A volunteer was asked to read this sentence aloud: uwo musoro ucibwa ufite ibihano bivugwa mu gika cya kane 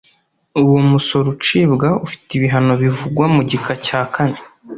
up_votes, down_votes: 2, 0